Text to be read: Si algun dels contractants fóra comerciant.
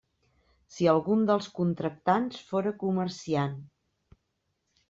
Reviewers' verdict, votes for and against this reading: accepted, 3, 0